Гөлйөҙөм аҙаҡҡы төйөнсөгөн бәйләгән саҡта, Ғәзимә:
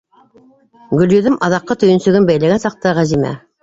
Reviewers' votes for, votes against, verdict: 2, 0, accepted